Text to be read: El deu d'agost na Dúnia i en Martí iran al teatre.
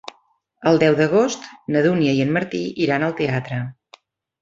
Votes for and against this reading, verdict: 3, 0, accepted